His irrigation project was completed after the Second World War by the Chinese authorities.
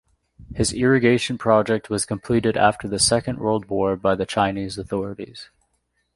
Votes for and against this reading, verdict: 2, 0, accepted